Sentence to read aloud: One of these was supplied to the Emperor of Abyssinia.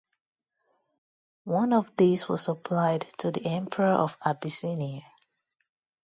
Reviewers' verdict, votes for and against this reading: accepted, 2, 0